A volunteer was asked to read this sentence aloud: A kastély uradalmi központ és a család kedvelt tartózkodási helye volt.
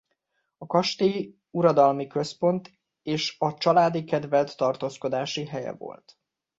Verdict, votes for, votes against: rejected, 1, 2